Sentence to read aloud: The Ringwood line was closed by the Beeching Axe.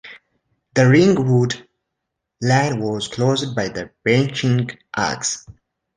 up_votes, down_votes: 0, 2